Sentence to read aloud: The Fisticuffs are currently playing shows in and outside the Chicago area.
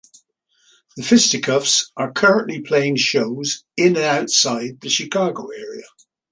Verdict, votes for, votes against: accepted, 2, 0